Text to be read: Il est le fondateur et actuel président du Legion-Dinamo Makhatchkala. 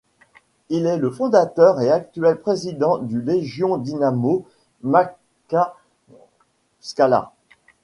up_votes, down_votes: 2, 1